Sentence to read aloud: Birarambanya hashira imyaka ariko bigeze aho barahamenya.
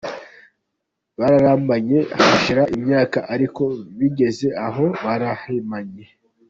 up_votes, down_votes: 0, 2